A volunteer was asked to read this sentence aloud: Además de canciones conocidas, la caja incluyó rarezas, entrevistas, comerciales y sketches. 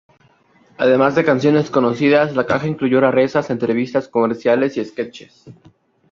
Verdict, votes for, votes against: rejected, 0, 2